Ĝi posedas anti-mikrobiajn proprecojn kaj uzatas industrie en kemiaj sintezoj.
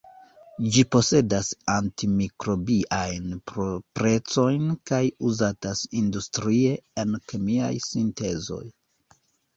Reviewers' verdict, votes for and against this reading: accepted, 2, 0